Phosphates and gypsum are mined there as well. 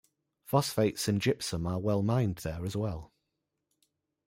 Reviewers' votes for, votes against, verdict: 0, 2, rejected